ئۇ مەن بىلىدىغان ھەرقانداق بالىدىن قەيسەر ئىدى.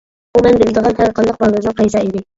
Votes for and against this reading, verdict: 0, 2, rejected